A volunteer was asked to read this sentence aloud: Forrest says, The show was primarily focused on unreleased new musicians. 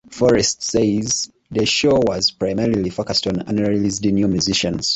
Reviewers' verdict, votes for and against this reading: accepted, 2, 0